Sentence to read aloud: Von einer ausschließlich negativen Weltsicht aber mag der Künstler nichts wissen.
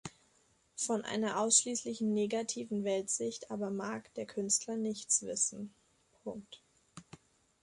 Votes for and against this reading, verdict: 2, 0, accepted